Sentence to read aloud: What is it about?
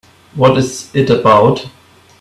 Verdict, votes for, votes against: accepted, 2, 1